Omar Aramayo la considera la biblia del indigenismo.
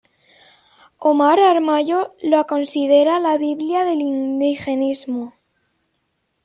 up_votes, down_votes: 1, 2